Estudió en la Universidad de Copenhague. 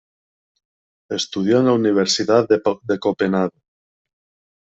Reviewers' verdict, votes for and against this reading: rejected, 0, 2